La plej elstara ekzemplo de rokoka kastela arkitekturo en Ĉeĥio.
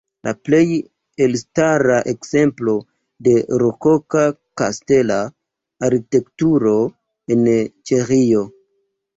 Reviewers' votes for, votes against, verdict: 1, 2, rejected